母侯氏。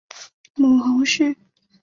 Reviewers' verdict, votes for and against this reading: accepted, 5, 0